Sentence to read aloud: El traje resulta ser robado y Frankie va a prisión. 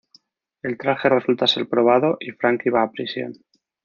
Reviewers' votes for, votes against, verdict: 0, 2, rejected